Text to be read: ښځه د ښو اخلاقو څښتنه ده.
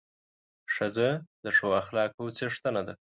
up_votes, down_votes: 2, 0